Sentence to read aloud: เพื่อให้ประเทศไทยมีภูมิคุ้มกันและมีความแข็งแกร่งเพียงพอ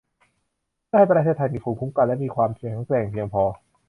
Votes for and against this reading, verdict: 0, 2, rejected